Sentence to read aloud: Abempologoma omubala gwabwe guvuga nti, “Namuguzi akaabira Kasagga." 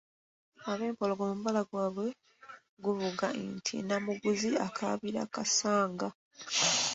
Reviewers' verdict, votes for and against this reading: accepted, 2, 1